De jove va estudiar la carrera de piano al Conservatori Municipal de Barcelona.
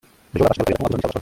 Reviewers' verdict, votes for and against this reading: rejected, 0, 2